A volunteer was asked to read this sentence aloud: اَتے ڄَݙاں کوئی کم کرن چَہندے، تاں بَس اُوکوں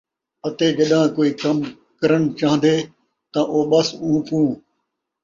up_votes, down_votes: 0, 2